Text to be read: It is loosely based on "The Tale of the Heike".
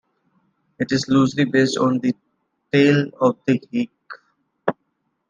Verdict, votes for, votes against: accepted, 2, 1